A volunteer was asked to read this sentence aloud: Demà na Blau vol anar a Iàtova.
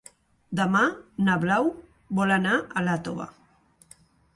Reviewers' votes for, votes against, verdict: 0, 2, rejected